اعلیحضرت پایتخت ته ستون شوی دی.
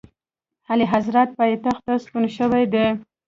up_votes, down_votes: 1, 2